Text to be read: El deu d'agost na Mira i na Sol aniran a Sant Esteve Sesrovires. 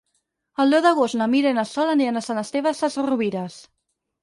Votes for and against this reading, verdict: 2, 4, rejected